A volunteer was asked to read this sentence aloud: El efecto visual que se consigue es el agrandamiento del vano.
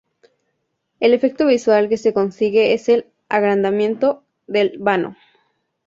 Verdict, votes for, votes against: accepted, 4, 0